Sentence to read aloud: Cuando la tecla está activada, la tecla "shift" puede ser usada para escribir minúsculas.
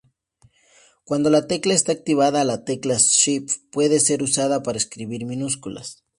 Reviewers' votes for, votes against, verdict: 2, 0, accepted